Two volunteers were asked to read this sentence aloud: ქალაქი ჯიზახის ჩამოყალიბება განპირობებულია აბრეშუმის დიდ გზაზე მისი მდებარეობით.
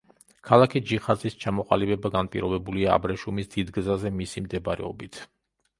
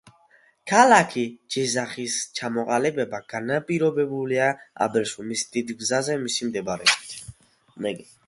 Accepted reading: second